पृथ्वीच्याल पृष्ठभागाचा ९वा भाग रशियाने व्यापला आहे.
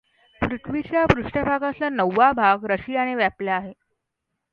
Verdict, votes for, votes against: rejected, 0, 2